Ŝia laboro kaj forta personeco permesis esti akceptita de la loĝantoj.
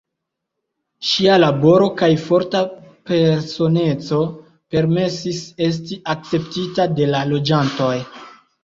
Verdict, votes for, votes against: accepted, 2, 0